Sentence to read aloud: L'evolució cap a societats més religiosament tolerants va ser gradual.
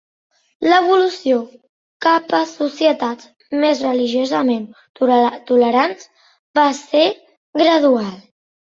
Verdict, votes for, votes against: rejected, 1, 2